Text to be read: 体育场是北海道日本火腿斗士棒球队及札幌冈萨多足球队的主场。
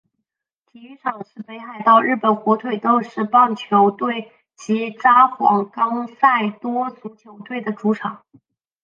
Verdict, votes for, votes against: rejected, 0, 2